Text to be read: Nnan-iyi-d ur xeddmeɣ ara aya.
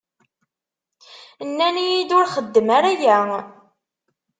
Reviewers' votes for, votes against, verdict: 1, 2, rejected